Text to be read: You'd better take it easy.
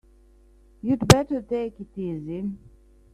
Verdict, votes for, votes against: rejected, 2, 3